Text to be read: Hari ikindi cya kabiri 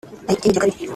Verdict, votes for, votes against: rejected, 0, 2